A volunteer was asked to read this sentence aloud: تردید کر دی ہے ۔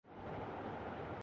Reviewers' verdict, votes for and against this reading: rejected, 1, 2